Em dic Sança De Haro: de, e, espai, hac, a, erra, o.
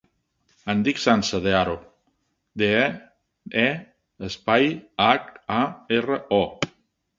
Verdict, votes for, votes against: rejected, 1, 2